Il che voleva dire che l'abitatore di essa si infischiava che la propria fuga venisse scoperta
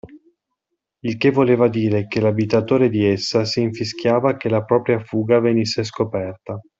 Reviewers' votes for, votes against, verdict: 2, 0, accepted